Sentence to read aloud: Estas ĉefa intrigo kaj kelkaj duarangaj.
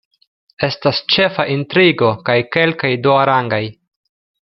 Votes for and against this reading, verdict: 2, 0, accepted